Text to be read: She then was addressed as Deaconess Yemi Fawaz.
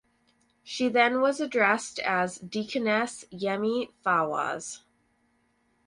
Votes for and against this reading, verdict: 4, 0, accepted